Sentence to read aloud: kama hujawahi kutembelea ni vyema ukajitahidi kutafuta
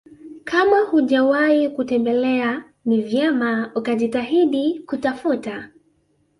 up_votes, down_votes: 2, 0